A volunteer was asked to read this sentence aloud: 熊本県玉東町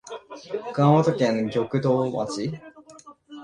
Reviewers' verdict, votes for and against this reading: rejected, 1, 2